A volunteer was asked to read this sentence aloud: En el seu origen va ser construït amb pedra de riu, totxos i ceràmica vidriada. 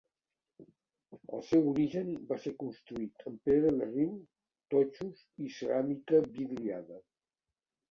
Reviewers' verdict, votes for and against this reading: rejected, 0, 2